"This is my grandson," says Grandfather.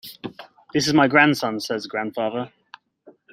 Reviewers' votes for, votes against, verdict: 2, 0, accepted